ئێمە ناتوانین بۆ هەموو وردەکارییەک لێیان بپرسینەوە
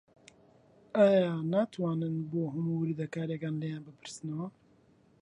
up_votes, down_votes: 0, 2